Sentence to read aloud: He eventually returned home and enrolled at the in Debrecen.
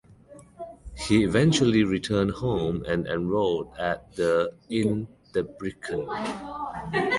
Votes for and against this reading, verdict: 2, 1, accepted